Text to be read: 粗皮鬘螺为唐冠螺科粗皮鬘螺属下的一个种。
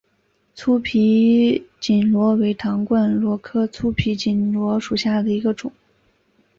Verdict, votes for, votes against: accepted, 6, 3